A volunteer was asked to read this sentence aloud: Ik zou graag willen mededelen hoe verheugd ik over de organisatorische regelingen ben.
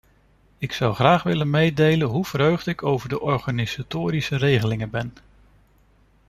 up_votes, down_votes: 2, 1